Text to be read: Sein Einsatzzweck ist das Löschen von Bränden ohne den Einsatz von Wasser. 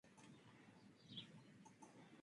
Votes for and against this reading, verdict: 0, 3, rejected